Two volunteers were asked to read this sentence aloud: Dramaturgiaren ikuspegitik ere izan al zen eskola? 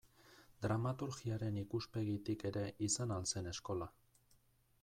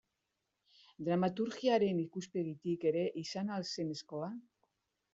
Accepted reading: second